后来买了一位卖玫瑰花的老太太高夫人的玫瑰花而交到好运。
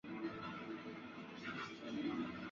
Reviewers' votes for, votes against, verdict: 0, 2, rejected